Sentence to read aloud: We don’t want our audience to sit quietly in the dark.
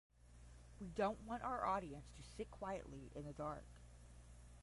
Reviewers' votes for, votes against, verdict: 5, 0, accepted